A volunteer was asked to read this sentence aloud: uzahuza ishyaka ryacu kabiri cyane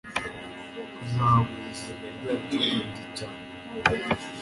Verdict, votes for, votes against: rejected, 1, 2